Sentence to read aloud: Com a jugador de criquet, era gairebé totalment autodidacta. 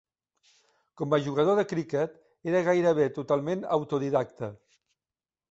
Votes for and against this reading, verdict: 1, 2, rejected